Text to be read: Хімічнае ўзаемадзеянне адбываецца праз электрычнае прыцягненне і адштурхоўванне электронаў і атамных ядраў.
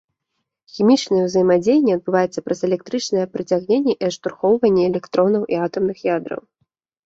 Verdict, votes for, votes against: accepted, 2, 0